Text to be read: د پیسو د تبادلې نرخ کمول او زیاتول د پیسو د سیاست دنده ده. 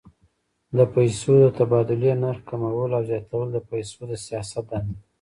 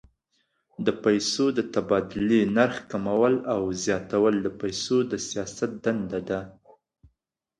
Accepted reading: second